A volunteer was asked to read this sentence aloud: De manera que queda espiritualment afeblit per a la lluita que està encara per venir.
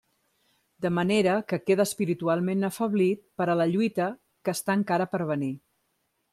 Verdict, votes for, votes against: accepted, 2, 1